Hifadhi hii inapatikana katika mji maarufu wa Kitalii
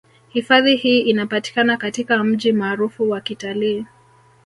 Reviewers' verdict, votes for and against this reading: rejected, 0, 2